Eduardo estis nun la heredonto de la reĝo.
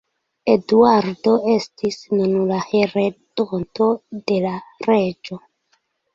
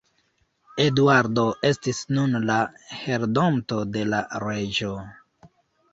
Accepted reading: first